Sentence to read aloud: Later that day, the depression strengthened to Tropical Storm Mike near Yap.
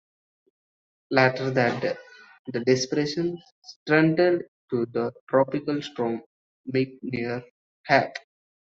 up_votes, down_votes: 1, 2